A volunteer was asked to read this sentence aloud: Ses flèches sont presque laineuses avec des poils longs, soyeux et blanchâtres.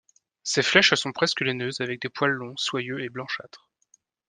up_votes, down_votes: 2, 0